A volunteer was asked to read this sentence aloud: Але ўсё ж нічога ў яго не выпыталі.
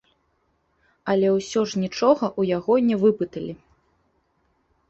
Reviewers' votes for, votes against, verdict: 2, 0, accepted